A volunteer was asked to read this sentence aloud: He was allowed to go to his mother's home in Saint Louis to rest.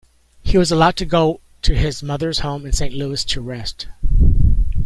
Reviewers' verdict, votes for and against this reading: accepted, 2, 1